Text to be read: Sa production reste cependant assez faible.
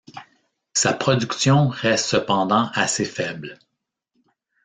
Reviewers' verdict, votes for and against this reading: accepted, 2, 0